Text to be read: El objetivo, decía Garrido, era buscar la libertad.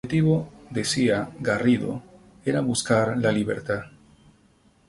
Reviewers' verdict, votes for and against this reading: accepted, 2, 0